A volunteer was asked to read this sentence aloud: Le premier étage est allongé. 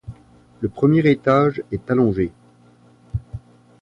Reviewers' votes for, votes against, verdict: 2, 0, accepted